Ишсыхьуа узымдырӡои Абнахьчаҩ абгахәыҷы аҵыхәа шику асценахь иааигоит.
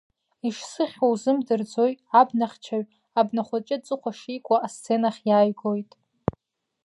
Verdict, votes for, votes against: rejected, 1, 2